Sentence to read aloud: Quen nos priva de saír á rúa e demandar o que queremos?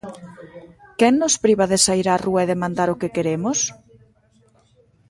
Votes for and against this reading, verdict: 1, 2, rejected